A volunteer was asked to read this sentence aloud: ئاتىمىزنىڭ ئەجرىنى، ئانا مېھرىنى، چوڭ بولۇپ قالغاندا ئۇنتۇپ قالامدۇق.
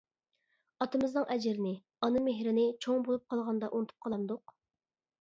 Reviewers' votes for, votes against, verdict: 2, 0, accepted